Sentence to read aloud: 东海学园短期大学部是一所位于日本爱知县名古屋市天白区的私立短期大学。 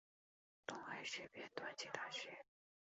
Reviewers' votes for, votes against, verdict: 0, 2, rejected